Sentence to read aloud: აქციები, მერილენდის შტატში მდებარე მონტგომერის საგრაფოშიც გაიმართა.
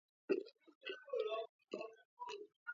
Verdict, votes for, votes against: rejected, 0, 2